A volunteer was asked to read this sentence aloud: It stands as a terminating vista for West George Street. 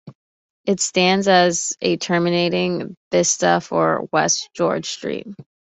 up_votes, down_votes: 2, 0